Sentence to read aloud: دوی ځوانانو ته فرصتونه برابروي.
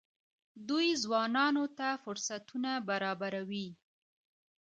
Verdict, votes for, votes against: rejected, 0, 2